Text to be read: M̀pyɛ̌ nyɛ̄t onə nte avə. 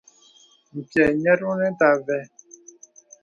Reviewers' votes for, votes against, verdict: 2, 0, accepted